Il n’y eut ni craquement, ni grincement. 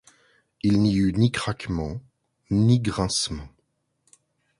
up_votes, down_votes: 2, 0